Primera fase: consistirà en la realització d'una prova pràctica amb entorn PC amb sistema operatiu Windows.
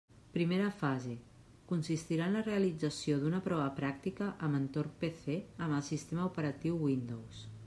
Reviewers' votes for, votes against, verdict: 0, 2, rejected